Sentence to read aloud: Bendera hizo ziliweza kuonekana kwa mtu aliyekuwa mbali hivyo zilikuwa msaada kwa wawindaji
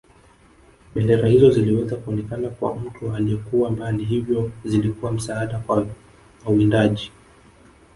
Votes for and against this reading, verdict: 1, 2, rejected